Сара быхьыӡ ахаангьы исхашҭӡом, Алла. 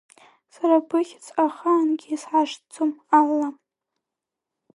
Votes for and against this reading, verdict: 0, 2, rejected